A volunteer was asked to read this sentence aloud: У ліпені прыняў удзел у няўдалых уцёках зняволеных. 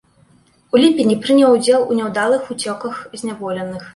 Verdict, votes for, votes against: rejected, 1, 2